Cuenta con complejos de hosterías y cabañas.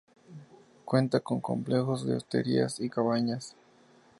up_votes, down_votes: 2, 0